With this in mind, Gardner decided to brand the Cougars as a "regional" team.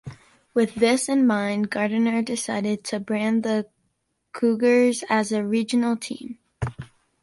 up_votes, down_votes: 2, 1